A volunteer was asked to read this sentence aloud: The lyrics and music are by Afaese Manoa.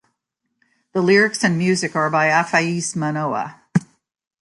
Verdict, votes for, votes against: accepted, 3, 0